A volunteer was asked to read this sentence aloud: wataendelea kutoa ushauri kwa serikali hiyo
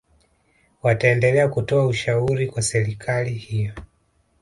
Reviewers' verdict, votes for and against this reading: accepted, 3, 0